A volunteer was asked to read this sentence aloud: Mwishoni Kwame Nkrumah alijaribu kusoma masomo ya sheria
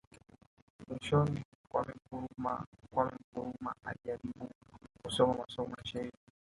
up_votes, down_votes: 0, 2